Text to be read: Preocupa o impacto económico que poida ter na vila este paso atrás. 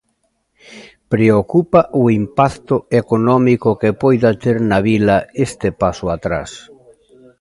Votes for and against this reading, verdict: 2, 0, accepted